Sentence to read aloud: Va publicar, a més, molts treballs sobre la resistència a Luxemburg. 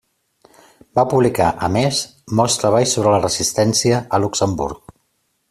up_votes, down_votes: 3, 0